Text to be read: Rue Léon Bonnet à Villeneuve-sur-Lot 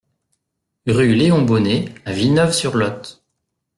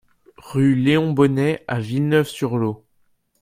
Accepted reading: first